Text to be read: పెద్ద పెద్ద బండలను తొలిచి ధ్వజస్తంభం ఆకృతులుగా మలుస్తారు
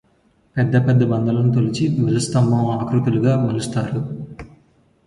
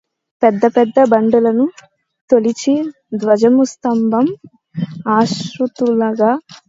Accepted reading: first